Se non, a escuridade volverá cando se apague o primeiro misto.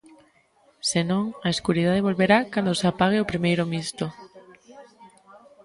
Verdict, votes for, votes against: accepted, 2, 0